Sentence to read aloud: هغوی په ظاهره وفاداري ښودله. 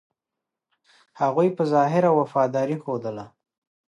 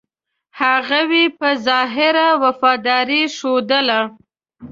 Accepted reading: first